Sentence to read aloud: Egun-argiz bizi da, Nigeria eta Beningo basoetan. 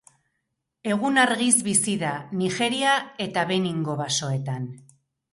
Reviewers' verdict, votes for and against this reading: accepted, 2, 0